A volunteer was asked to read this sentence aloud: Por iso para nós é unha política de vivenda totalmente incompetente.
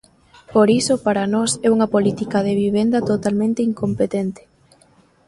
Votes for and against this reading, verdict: 3, 0, accepted